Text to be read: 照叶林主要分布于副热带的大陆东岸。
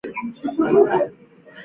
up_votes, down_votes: 2, 1